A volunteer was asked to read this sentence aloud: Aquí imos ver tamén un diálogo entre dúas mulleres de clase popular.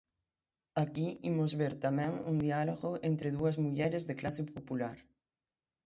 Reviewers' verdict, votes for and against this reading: accepted, 6, 0